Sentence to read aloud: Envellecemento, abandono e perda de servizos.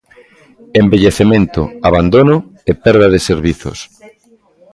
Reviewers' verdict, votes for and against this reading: rejected, 1, 2